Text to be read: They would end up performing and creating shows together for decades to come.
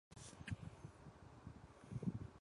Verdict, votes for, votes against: rejected, 0, 2